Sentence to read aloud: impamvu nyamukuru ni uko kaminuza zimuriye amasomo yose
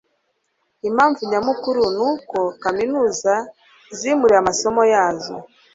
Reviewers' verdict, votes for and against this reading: rejected, 1, 2